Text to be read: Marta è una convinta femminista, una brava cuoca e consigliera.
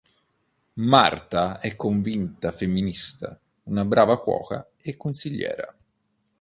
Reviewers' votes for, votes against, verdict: 0, 2, rejected